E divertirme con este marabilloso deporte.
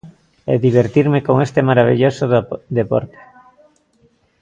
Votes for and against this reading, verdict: 0, 2, rejected